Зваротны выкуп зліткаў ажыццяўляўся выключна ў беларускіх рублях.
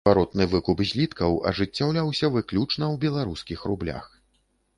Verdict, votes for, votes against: rejected, 1, 4